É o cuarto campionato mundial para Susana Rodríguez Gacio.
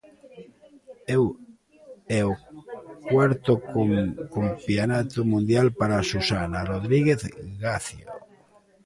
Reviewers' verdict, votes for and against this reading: rejected, 0, 2